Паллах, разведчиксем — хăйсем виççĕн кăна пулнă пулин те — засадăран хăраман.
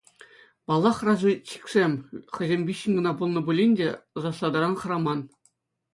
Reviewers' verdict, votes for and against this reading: accepted, 2, 0